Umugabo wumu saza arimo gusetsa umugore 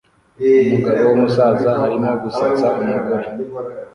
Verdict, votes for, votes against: rejected, 1, 2